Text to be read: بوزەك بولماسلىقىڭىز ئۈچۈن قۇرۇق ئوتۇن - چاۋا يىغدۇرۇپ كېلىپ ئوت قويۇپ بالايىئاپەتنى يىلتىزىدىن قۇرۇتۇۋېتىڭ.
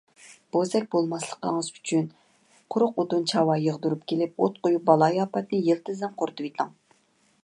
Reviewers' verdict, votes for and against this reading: accepted, 2, 0